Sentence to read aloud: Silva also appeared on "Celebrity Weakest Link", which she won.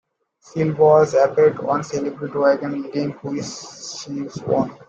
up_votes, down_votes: 1, 2